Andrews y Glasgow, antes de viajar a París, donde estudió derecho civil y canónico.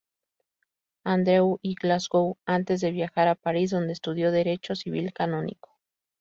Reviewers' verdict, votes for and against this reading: rejected, 0, 2